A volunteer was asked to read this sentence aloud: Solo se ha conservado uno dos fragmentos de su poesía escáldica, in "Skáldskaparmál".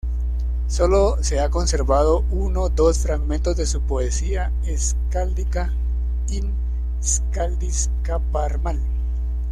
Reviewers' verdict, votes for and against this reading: rejected, 1, 2